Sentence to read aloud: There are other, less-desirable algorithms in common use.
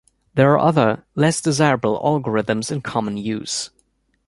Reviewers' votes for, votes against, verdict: 2, 0, accepted